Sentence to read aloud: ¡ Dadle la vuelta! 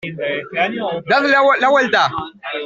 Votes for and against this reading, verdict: 0, 2, rejected